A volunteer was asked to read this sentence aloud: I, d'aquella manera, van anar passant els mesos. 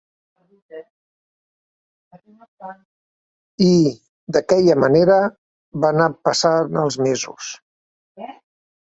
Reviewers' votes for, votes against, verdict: 0, 2, rejected